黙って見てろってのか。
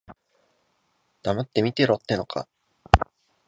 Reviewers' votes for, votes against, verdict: 2, 0, accepted